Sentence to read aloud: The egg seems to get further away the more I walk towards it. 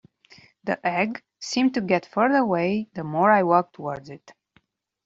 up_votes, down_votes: 0, 2